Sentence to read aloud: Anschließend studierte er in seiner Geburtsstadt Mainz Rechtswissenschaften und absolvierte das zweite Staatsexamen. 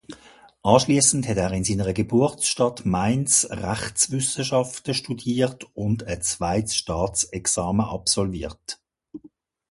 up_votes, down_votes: 0, 2